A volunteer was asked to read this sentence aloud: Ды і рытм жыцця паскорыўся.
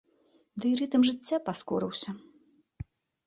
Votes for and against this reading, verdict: 2, 0, accepted